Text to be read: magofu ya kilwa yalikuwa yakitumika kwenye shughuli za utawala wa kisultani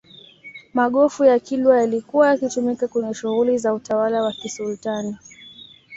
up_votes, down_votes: 2, 0